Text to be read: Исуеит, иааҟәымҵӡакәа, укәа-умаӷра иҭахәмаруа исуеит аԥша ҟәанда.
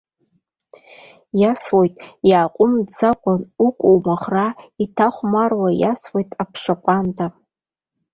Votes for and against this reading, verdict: 2, 1, accepted